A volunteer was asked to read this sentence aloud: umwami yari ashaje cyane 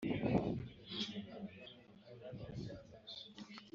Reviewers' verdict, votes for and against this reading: rejected, 0, 2